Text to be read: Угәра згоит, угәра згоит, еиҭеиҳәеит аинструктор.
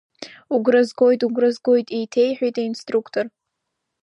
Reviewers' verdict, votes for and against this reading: accepted, 2, 1